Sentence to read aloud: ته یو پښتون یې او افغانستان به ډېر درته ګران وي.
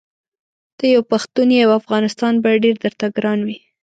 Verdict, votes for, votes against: accepted, 2, 0